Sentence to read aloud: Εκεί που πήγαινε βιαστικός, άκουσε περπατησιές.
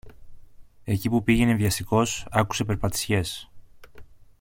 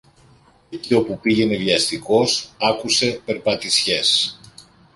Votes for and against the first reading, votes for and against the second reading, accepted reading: 2, 0, 1, 2, first